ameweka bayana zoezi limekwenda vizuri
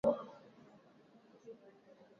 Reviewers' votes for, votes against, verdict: 1, 5, rejected